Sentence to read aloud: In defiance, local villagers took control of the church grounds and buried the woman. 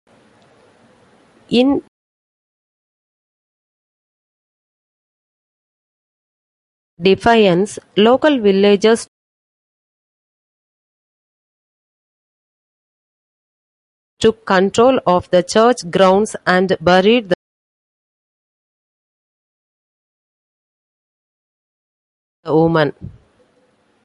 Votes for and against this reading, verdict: 0, 2, rejected